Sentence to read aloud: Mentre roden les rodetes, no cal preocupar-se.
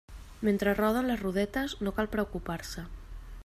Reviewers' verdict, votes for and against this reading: accepted, 3, 0